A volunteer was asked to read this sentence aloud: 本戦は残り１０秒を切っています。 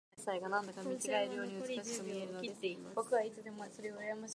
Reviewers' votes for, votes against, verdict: 0, 2, rejected